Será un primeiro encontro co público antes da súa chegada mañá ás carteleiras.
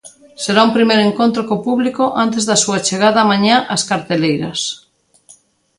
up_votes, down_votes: 2, 0